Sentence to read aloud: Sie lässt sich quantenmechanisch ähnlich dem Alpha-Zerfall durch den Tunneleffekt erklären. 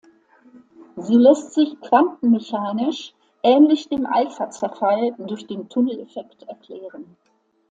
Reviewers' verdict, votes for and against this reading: accepted, 2, 0